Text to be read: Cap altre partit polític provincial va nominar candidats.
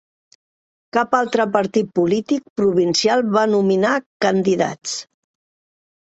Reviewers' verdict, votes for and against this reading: accepted, 4, 0